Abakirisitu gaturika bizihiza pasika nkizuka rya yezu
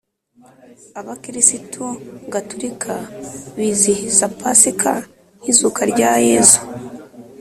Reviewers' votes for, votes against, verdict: 3, 0, accepted